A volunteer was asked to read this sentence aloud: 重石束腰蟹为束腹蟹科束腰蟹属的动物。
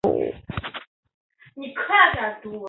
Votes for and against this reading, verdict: 1, 7, rejected